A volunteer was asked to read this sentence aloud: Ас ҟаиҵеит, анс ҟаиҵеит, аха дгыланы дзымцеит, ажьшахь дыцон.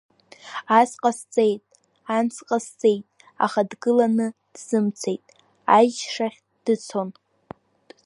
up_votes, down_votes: 2, 3